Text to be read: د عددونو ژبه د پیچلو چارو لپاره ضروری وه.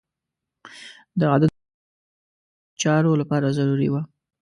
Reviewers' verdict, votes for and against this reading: rejected, 1, 2